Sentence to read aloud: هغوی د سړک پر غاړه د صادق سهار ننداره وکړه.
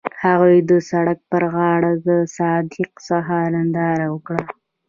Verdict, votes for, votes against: accepted, 2, 0